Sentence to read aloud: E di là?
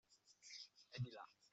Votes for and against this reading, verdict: 0, 2, rejected